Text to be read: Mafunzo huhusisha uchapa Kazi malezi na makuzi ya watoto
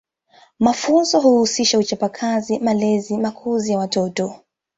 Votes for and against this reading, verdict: 2, 0, accepted